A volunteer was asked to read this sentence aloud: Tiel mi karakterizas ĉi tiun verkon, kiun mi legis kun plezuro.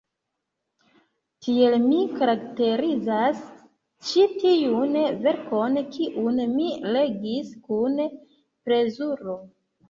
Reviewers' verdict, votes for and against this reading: rejected, 0, 2